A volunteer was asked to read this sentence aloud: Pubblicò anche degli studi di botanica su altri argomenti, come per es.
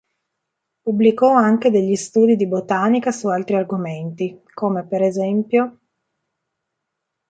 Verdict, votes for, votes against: rejected, 1, 2